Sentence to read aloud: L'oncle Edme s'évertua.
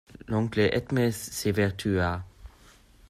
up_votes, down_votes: 1, 2